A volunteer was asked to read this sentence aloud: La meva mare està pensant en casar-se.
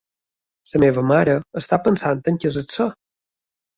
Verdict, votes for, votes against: rejected, 0, 2